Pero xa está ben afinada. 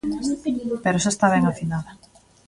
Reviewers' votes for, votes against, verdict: 0, 2, rejected